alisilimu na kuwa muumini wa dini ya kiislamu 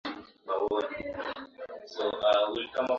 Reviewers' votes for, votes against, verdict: 0, 2, rejected